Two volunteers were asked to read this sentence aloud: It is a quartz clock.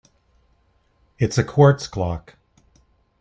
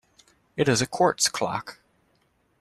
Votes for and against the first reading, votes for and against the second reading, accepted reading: 1, 2, 2, 0, second